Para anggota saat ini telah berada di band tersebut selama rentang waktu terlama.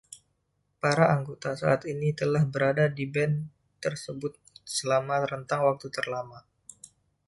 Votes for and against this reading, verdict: 1, 2, rejected